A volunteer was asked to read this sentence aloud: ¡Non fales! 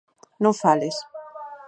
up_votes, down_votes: 4, 0